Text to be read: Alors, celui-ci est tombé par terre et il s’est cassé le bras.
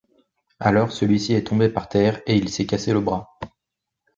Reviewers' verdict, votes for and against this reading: accepted, 2, 0